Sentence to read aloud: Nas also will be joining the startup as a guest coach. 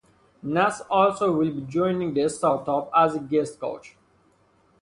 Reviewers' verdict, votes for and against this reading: accepted, 2, 0